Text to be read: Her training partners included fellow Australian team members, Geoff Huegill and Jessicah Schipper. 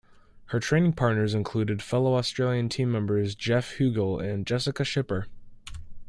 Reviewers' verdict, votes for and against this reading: accepted, 2, 0